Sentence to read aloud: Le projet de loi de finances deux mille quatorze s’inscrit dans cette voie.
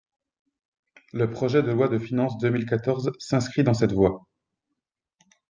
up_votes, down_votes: 3, 0